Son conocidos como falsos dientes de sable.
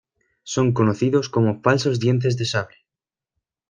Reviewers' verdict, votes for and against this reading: accepted, 2, 0